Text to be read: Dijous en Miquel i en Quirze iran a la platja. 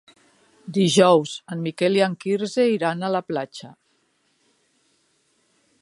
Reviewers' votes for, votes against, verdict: 3, 0, accepted